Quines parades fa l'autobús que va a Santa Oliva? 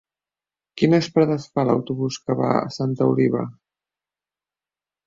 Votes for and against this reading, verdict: 2, 3, rejected